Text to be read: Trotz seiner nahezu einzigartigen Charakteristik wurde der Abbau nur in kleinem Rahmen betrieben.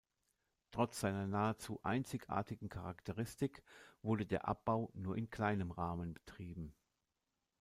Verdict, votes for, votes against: accepted, 2, 0